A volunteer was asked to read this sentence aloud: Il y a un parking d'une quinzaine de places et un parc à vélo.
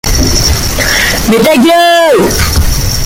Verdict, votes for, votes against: rejected, 0, 2